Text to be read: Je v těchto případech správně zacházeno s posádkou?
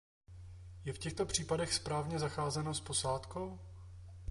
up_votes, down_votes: 2, 0